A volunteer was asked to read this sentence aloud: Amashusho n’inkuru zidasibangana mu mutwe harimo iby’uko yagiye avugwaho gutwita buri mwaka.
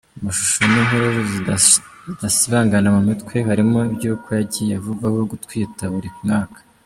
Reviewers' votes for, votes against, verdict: 1, 2, rejected